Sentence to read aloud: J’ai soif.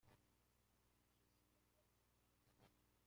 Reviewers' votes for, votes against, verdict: 0, 2, rejected